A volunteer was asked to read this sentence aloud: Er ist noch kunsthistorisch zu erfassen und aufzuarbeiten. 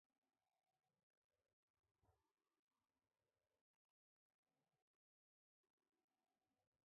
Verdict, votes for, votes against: rejected, 0, 3